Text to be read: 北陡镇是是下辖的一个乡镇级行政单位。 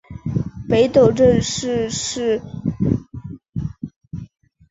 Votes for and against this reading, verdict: 2, 2, rejected